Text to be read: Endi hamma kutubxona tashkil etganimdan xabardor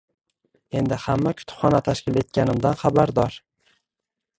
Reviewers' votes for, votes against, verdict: 1, 2, rejected